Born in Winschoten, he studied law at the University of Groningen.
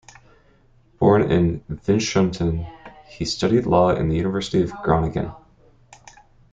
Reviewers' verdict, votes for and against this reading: rejected, 1, 2